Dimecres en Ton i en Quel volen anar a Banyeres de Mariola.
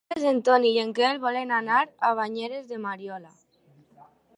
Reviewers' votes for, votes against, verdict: 1, 3, rejected